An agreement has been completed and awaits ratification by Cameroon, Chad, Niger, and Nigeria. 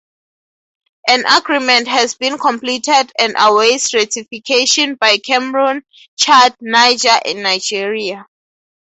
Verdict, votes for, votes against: rejected, 0, 2